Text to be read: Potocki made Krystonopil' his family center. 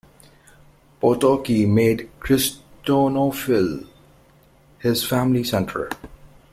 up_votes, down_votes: 0, 2